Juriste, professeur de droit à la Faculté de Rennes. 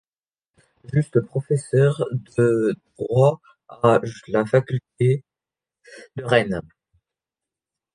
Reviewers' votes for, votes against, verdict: 1, 2, rejected